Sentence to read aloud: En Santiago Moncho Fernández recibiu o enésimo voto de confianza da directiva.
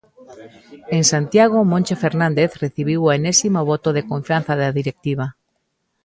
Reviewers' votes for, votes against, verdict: 2, 0, accepted